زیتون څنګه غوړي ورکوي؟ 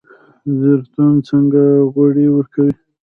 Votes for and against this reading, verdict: 1, 2, rejected